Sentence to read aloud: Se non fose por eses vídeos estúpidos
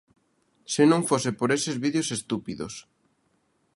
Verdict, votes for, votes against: accepted, 2, 0